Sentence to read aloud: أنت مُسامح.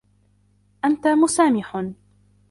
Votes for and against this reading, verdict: 0, 2, rejected